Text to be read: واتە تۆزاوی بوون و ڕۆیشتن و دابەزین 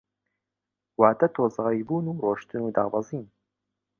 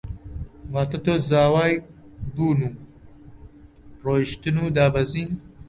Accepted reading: first